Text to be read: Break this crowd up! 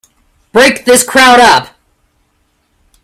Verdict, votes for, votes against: accepted, 2, 0